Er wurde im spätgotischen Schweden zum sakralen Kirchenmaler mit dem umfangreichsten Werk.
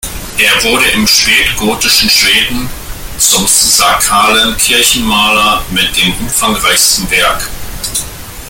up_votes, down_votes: 0, 2